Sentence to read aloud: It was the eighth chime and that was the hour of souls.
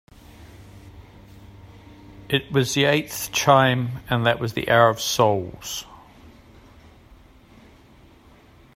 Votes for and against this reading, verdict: 2, 0, accepted